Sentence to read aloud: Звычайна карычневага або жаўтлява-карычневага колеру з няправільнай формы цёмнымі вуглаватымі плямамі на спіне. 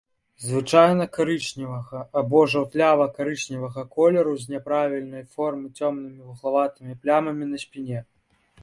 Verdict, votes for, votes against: accepted, 3, 0